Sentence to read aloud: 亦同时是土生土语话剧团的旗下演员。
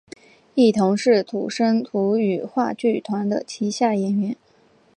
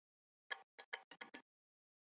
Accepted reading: first